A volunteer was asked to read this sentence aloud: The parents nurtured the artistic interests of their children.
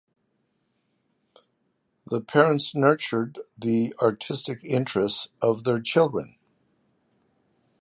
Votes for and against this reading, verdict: 2, 0, accepted